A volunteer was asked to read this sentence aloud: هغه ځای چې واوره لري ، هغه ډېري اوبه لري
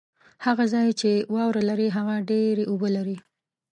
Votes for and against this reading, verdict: 3, 0, accepted